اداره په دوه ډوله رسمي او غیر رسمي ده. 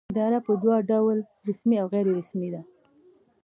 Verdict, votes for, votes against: accepted, 2, 0